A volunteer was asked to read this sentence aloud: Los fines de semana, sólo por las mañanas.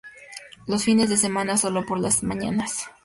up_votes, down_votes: 6, 0